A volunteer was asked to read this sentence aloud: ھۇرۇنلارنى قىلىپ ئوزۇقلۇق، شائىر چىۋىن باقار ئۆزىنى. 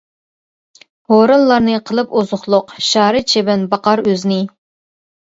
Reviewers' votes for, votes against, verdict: 0, 2, rejected